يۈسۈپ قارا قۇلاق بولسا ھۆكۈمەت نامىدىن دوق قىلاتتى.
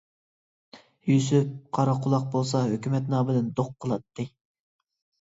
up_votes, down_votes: 2, 0